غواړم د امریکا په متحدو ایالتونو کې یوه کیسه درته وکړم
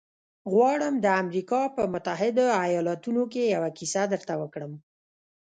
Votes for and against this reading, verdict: 0, 2, rejected